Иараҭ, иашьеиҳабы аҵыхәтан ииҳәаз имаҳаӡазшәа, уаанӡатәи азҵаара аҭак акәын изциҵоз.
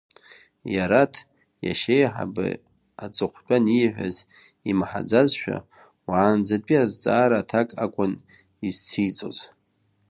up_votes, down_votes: 2, 1